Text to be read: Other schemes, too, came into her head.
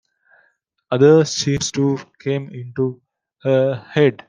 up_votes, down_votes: 0, 2